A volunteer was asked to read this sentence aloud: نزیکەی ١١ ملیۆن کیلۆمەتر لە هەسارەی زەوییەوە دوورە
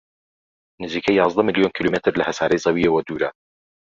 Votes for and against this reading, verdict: 0, 2, rejected